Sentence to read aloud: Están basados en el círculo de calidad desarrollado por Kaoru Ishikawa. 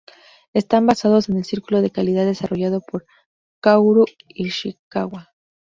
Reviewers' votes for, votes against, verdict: 2, 0, accepted